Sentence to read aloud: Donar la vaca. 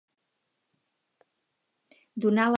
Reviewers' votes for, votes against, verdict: 2, 2, rejected